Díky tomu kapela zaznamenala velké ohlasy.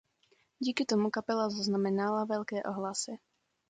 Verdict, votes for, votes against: accepted, 2, 0